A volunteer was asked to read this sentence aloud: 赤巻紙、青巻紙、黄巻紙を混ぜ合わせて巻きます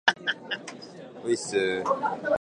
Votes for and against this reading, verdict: 0, 2, rejected